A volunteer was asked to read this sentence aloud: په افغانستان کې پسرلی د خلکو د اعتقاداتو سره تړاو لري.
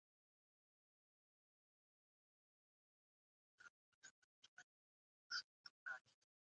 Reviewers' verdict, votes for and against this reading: rejected, 1, 2